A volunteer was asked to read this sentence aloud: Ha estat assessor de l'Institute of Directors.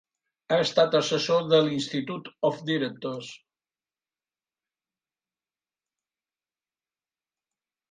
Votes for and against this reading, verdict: 1, 2, rejected